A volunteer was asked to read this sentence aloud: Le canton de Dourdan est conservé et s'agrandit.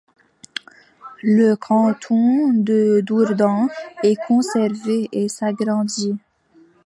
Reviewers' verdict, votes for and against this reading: accepted, 2, 1